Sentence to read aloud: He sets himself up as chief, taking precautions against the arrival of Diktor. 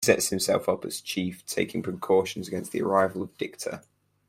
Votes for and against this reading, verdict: 0, 4, rejected